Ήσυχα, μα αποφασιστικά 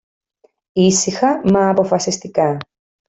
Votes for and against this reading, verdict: 2, 0, accepted